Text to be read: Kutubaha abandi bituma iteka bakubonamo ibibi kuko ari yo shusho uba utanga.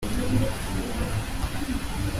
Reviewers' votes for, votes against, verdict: 0, 2, rejected